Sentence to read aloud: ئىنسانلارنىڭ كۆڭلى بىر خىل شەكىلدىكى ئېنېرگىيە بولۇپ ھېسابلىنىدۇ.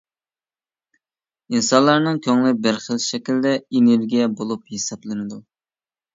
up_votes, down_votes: 1, 2